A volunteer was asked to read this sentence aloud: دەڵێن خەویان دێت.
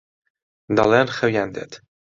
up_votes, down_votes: 2, 0